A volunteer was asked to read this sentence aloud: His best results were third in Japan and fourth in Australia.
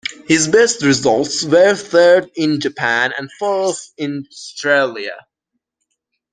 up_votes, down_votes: 1, 2